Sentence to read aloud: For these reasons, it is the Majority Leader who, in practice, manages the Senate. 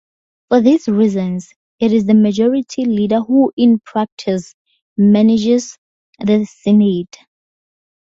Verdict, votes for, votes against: rejected, 0, 2